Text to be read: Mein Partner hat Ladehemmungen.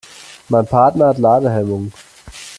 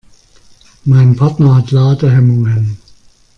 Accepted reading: second